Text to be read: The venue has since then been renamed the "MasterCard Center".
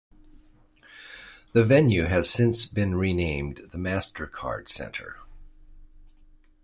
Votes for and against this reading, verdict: 0, 2, rejected